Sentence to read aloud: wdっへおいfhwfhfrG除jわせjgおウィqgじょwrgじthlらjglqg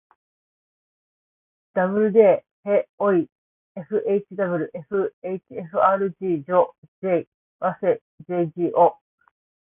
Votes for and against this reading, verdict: 1, 2, rejected